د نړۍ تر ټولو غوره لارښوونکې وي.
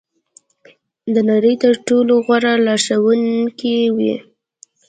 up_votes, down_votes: 2, 0